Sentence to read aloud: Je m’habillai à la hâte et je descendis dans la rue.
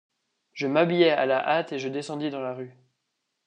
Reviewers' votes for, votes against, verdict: 2, 0, accepted